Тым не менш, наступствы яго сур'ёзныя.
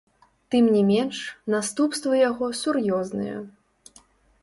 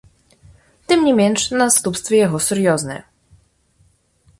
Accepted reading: second